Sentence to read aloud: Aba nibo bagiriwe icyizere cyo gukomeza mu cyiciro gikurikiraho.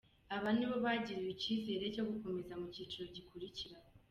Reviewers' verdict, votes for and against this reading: accepted, 2, 0